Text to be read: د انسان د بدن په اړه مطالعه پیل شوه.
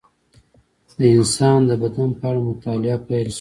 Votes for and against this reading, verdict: 0, 2, rejected